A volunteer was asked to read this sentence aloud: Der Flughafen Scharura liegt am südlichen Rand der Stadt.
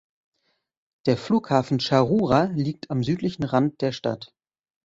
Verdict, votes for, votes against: accepted, 2, 0